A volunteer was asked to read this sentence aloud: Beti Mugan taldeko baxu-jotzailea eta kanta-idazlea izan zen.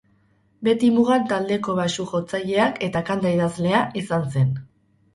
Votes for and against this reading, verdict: 2, 2, rejected